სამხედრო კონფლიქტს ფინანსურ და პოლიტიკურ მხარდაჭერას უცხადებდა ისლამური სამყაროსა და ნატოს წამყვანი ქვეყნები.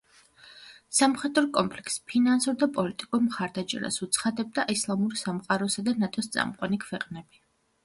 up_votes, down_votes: 2, 0